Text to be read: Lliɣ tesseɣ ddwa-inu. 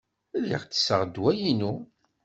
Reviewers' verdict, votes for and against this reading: accepted, 2, 0